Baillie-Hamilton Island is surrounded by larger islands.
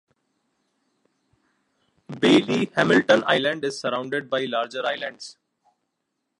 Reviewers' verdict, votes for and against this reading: accepted, 2, 1